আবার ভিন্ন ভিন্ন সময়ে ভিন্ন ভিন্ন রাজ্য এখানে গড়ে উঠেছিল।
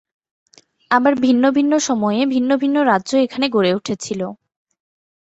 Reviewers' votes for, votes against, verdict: 3, 0, accepted